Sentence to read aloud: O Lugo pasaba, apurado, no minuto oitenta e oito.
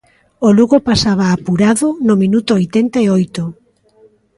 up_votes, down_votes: 2, 0